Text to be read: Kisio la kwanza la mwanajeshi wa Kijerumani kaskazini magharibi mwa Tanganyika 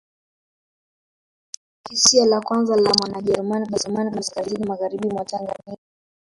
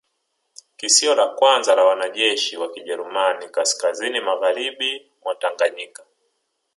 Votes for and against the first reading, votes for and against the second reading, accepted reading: 1, 3, 2, 0, second